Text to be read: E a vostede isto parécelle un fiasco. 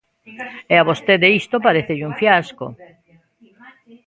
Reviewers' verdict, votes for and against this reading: rejected, 0, 2